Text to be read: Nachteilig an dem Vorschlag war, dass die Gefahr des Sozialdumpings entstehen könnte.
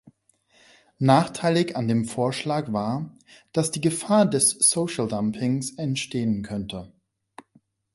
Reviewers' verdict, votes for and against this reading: rejected, 0, 2